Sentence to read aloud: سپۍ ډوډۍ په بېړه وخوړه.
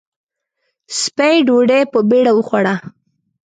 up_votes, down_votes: 2, 0